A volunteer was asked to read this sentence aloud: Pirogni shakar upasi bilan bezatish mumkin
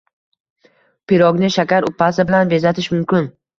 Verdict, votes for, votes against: accepted, 2, 0